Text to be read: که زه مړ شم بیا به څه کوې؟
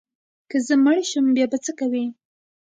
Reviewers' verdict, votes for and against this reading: accepted, 2, 1